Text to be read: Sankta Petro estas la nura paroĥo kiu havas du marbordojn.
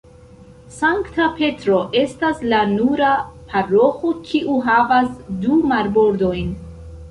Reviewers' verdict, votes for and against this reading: rejected, 1, 2